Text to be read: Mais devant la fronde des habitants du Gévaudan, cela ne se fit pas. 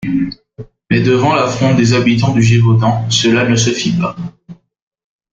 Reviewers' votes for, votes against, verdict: 2, 0, accepted